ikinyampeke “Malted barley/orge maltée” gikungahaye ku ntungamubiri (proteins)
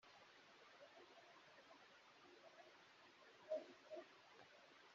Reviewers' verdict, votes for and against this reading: rejected, 0, 2